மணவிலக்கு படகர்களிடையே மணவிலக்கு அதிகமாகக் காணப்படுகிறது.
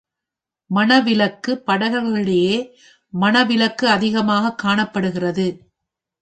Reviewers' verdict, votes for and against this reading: rejected, 1, 2